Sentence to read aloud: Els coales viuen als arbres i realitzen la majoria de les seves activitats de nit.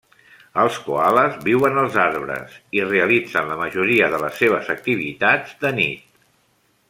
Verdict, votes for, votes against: accepted, 3, 0